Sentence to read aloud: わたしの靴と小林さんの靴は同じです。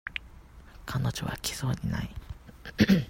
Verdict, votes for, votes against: rejected, 0, 2